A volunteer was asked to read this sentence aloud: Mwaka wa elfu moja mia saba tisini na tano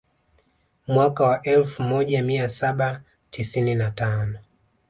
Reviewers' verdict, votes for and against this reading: accepted, 2, 0